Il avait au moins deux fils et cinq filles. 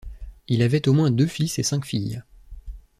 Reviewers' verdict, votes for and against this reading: accepted, 2, 0